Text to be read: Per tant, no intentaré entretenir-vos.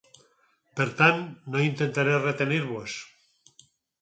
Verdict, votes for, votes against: rejected, 0, 4